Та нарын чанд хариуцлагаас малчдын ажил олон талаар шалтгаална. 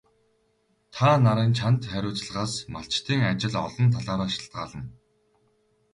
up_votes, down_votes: 0, 2